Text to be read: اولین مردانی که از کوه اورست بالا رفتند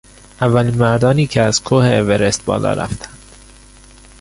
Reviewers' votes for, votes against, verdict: 0, 2, rejected